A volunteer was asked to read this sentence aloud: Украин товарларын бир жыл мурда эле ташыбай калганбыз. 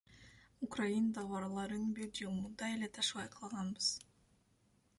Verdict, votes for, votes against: rejected, 0, 2